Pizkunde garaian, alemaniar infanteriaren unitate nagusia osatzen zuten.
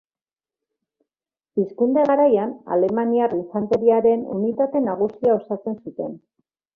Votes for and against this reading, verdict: 2, 1, accepted